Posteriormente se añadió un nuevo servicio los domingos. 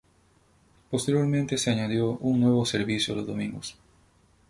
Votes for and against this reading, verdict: 2, 4, rejected